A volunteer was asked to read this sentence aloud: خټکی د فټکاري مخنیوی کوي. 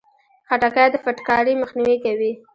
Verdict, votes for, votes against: rejected, 1, 2